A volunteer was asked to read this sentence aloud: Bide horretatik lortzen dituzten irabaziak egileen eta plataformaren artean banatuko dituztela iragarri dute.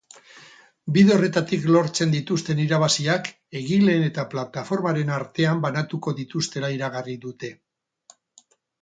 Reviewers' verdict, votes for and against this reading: rejected, 2, 2